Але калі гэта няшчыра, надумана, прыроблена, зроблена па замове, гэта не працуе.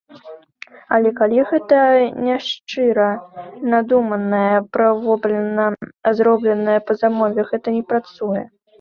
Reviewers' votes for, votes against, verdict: 0, 2, rejected